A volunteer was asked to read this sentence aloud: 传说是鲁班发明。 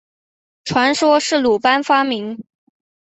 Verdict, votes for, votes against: accepted, 2, 0